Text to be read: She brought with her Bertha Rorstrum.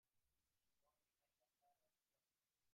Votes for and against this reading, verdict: 0, 2, rejected